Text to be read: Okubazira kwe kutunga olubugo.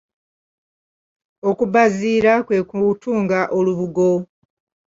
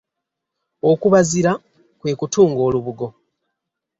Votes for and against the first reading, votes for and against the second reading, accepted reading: 2, 3, 3, 0, second